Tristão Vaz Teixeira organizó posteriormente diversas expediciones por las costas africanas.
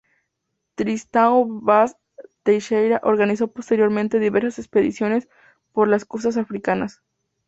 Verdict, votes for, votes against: accepted, 2, 0